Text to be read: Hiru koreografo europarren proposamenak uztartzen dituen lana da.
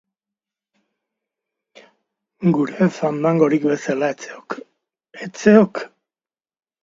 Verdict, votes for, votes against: rejected, 1, 2